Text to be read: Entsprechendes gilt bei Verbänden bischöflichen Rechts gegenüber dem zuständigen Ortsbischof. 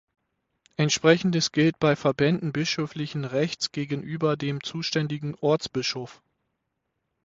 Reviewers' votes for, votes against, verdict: 6, 0, accepted